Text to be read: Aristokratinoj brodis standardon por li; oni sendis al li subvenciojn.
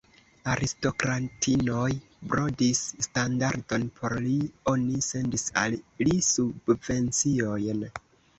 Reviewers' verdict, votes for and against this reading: rejected, 1, 2